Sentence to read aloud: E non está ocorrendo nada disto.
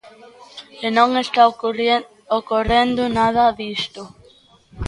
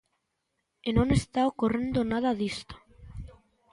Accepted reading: second